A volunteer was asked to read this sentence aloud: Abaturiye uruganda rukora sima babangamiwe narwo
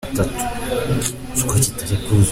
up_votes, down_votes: 0, 2